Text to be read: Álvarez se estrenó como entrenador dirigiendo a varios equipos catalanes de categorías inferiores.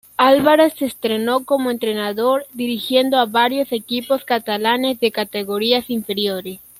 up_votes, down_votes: 2, 1